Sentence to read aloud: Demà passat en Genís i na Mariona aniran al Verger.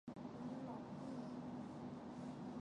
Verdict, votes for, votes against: rejected, 0, 2